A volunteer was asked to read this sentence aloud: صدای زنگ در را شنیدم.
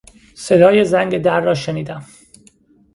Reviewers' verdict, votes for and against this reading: accepted, 2, 0